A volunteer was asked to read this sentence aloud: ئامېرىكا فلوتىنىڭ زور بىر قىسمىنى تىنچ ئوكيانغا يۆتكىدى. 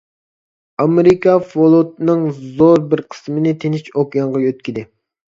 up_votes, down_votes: 0, 2